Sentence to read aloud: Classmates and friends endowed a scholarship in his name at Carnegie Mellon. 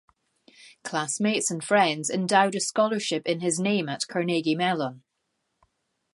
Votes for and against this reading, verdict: 2, 0, accepted